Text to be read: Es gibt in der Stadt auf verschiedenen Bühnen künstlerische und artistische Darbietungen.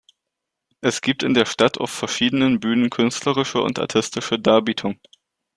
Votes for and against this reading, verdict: 1, 2, rejected